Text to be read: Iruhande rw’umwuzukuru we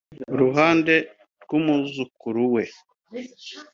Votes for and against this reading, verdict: 3, 0, accepted